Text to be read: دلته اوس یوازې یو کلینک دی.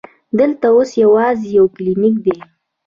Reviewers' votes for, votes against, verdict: 2, 0, accepted